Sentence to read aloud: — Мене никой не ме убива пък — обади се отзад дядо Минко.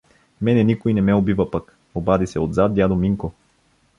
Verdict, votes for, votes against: accepted, 2, 0